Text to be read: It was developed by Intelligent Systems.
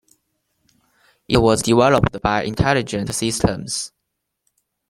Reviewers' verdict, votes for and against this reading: accepted, 2, 1